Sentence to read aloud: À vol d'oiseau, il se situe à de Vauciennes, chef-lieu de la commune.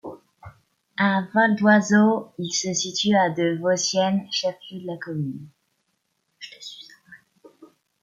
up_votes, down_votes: 1, 2